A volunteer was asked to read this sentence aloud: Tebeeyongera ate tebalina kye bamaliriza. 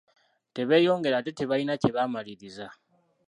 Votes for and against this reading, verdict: 1, 2, rejected